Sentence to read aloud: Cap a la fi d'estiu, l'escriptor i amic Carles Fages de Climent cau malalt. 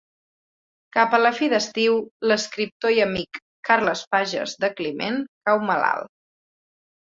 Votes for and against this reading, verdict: 2, 0, accepted